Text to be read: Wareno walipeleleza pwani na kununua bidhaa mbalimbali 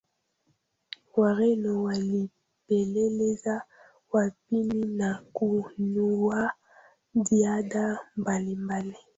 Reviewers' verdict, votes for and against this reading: rejected, 0, 2